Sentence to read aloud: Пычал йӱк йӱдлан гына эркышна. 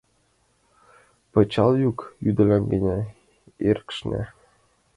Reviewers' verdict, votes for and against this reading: rejected, 0, 2